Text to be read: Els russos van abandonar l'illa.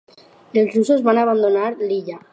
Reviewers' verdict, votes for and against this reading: accepted, 6, 0